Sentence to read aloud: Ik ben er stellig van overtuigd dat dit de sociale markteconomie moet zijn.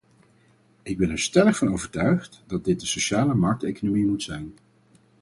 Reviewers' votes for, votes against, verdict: 4, 0, accepted